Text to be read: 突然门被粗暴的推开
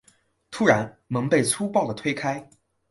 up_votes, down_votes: 3, 0